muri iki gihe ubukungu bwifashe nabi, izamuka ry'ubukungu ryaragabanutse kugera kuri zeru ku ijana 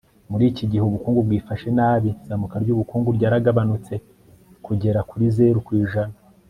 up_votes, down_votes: 3, 0